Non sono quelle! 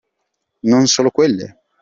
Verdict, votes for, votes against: rejected, 1, 2